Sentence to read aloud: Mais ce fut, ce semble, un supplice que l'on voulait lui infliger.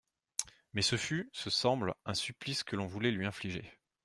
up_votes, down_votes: 2, 0